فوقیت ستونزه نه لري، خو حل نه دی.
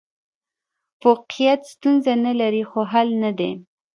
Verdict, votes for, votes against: rejected, 1, 2